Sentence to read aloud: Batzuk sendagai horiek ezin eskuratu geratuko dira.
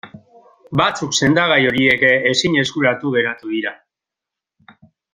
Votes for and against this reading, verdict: 0, 2, rejected